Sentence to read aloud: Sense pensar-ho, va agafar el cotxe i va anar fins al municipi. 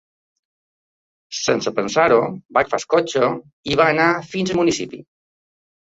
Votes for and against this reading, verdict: 1, 2, rejected